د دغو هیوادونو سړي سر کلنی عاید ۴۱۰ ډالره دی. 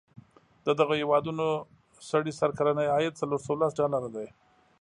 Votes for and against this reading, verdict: 0, 2, rejected